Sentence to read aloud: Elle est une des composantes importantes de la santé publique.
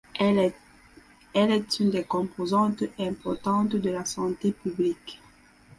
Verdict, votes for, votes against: rejected, 0, 4